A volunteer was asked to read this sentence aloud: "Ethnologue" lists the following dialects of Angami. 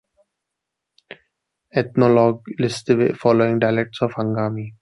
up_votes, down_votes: 2, 0